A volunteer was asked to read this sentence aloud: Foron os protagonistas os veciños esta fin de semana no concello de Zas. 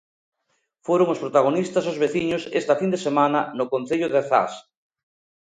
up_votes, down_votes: 2, 0